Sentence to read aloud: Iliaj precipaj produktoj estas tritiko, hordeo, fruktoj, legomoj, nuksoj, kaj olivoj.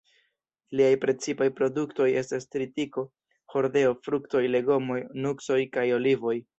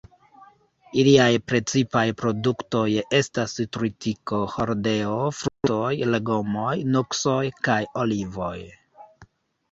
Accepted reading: second